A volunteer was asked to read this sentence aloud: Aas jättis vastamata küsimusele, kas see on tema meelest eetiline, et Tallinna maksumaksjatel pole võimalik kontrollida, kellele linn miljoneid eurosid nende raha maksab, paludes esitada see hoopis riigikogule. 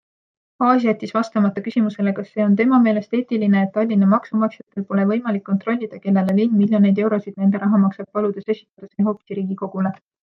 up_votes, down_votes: 2, 0